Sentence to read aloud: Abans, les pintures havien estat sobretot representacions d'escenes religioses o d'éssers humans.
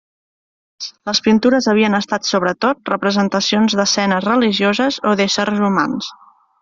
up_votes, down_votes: 1, 2